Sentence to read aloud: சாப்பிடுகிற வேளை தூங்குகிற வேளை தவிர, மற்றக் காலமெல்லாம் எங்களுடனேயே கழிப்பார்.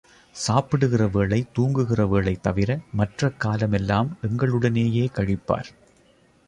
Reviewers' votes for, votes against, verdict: 2, 0, accepted